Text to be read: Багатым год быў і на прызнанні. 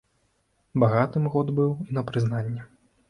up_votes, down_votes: 2, 0